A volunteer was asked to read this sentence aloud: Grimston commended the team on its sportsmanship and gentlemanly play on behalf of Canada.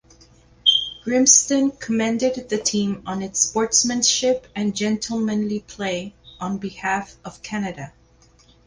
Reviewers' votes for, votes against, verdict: 0, 2, rejected